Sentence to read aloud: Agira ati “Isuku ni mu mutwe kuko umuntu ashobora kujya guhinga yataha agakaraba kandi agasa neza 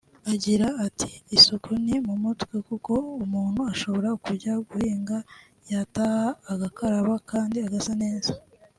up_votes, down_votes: 2, 0